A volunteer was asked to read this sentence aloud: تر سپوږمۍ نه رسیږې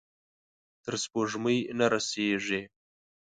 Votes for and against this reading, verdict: 2, 1, accepted